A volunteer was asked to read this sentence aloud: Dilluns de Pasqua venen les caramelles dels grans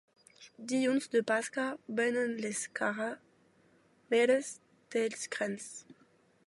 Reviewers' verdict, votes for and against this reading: rejected, 0, 2